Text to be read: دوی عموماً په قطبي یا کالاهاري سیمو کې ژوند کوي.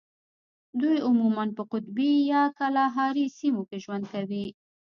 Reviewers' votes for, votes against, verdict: 1, 2, rejected